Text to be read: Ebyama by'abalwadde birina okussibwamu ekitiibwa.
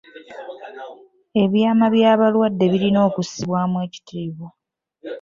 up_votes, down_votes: 2, 3